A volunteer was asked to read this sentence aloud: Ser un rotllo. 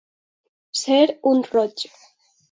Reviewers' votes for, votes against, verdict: 2, 0, accepted